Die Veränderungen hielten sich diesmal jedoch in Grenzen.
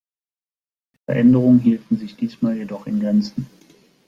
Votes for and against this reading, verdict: 1, 2, rejected